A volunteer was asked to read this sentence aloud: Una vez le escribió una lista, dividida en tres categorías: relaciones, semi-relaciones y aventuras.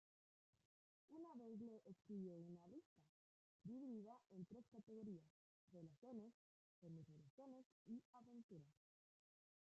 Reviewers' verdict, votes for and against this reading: rejected, 0, 4